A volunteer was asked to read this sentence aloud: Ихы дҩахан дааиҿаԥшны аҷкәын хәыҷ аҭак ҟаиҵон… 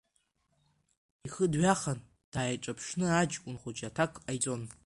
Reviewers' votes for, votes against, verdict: 1, 2, rejected